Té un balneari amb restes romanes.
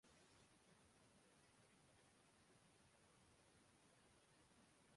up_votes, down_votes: 0, 2